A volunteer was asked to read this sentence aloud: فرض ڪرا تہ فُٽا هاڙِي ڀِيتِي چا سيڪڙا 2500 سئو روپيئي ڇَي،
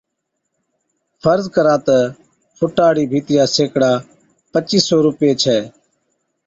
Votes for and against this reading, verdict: 0, 2, rejected